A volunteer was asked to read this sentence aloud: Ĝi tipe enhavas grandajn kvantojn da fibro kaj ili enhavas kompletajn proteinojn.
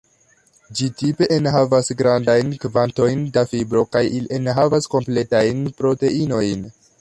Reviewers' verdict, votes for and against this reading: accepted, 2, 0